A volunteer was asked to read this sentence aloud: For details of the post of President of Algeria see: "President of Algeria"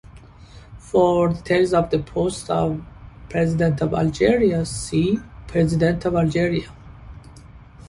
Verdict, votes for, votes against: accepted, 2, 1